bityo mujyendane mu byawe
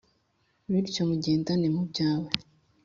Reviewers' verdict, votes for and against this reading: accepted, 4, 0